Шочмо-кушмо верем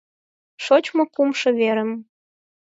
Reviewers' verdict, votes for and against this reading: rejected, 0, 4